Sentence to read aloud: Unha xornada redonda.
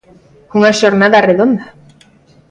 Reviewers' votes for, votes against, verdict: 0, 2, rejected